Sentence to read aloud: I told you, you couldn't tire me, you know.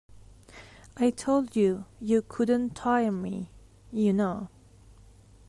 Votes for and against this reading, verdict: 2, 0, accepted